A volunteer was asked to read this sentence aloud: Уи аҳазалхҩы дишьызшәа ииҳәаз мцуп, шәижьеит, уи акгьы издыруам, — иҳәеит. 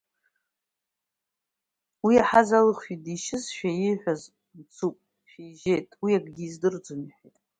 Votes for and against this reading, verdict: 1, 2, rejected